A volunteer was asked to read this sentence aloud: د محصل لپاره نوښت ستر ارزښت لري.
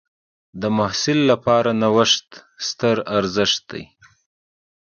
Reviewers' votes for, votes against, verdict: 2, 0, accepted